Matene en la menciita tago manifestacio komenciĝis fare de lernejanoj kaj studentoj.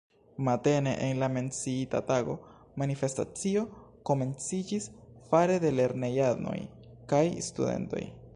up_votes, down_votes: 0, 2